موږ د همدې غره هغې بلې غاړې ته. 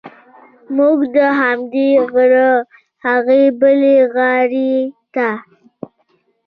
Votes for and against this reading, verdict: 2, 1, accepted